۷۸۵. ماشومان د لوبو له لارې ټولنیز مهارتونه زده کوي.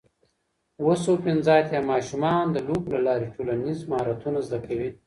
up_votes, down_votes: 0, 2